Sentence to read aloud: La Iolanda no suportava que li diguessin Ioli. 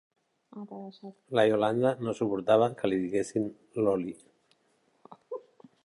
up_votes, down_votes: 1, 2